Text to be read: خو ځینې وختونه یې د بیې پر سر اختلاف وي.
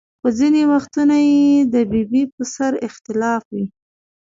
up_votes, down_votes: 0, 2